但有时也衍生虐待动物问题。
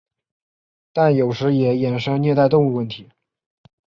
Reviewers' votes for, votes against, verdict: 3, 0, accepted